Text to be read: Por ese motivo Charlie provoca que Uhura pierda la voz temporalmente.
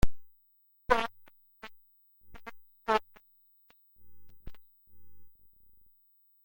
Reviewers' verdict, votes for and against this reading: rejected, 0, 3